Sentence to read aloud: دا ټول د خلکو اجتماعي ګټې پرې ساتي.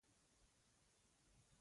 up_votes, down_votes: 0, 2